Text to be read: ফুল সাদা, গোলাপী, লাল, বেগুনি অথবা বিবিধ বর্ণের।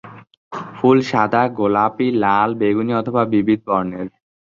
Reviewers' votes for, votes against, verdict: 2, 0, accepted